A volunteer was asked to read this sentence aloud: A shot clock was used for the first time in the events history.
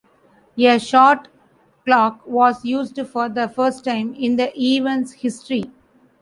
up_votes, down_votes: 0, 2